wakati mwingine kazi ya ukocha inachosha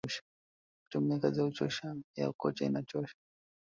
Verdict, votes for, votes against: rejected, 1, 2